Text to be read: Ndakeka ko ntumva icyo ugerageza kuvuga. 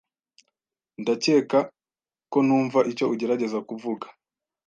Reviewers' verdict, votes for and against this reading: accepted, 2, 0